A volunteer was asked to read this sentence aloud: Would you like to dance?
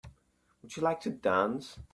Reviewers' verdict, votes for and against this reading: accepted, 2, 0